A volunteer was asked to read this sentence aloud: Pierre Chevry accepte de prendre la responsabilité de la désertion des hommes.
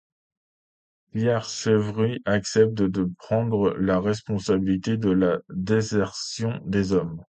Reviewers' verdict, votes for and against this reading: accepted, 2, 0